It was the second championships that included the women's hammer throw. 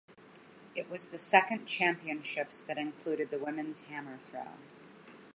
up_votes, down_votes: 2, 0